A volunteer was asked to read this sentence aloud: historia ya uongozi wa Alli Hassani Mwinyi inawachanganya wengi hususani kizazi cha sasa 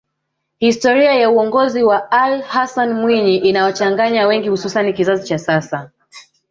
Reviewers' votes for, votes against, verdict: 2, 3, rejected